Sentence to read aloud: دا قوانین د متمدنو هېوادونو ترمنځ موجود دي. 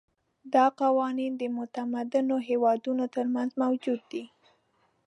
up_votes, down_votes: 2, 0